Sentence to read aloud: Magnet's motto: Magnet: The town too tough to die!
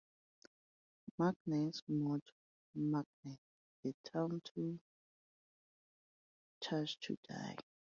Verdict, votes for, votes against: rejected, 0, 2